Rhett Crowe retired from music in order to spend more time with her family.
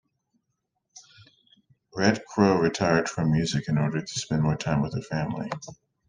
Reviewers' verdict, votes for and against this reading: accepted, 2, 0